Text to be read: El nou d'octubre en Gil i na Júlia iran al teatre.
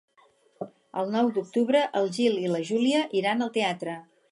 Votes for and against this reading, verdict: 2, 4, rejected